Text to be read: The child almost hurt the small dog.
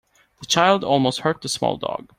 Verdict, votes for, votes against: accepted, 2, 0